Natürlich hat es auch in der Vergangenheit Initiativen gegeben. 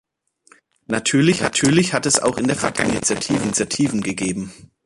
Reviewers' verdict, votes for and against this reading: rejected, 0, 2